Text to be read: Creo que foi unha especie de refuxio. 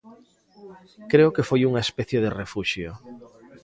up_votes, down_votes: 1, 2